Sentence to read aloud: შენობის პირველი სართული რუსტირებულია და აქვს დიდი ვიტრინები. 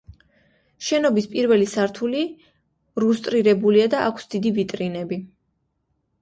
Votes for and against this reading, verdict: 1, 2, rejected